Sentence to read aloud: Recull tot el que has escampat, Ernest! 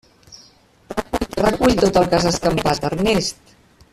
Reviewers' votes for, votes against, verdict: 1, 2, rejected